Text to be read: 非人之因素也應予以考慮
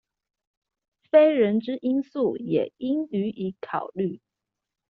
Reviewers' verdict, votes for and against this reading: accepted, 2, 0